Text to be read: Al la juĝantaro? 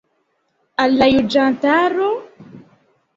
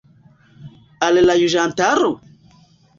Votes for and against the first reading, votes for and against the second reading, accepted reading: 2, 0, 1, 2, first